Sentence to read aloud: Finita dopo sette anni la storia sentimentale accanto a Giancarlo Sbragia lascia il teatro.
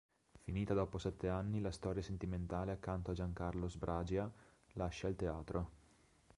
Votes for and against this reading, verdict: 1, 2, rejected